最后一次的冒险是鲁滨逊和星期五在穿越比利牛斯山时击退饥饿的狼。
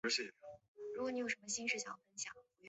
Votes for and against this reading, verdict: 0, 2, rejected